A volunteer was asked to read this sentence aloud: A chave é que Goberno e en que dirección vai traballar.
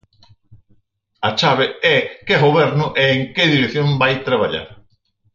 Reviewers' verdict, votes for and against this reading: accepted, 4, 0